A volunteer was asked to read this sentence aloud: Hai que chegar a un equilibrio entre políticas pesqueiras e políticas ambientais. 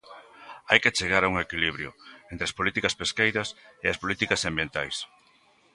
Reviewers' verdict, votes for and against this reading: rejected, 1, 2